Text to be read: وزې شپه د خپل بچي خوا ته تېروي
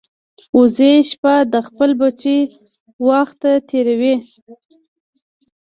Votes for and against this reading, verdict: 1, 2, rejected